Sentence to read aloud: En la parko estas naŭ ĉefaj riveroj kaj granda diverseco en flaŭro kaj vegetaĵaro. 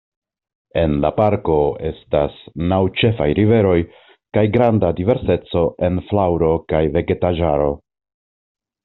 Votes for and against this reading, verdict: 2, 0, accepted